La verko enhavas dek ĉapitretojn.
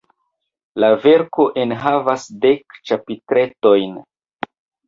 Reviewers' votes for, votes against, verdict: 2, 0, accepted